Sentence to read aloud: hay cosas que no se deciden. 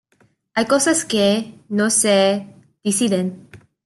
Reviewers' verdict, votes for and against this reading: accepted, 2, 1